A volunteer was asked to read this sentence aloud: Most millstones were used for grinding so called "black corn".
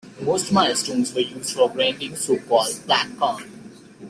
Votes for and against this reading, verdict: 0, 2, rejected